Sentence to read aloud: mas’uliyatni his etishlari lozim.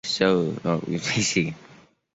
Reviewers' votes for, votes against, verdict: 0, 2, rejected